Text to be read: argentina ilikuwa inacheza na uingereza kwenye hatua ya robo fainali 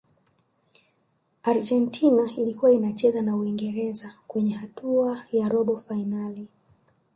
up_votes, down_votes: 0, 2